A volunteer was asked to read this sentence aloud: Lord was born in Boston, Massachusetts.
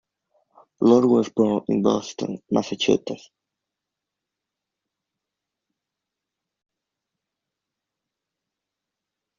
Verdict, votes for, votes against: rejected, 0, 2